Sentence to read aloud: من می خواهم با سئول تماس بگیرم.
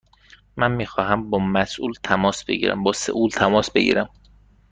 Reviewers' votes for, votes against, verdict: 1, 2, rejected